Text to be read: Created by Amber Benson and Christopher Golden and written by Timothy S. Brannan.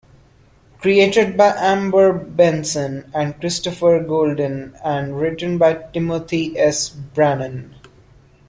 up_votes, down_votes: 2, 0